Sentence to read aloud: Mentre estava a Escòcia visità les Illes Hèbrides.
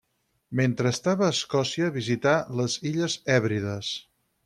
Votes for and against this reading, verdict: 6, 0, accepted